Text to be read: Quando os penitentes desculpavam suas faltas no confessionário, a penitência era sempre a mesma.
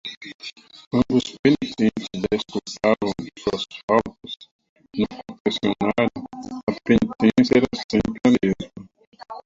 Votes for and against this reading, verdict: 0, 2, rejected